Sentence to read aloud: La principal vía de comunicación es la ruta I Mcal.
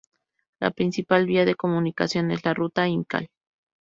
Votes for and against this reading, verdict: 0, 2, rejected